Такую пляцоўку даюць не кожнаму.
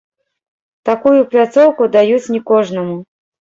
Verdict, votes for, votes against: rejected, 1, 2